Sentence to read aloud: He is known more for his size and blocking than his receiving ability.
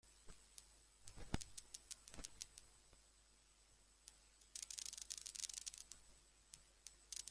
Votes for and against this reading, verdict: 0, 2, rejected